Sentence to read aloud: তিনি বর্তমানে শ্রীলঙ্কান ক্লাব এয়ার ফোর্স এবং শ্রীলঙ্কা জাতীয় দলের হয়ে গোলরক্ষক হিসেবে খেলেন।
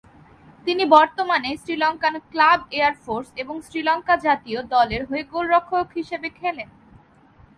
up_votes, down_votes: 0, 2